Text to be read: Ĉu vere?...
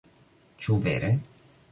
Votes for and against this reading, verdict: 2, 0, accepted